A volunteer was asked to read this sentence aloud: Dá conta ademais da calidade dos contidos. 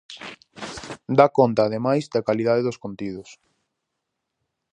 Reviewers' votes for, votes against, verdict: 4, 0, accepted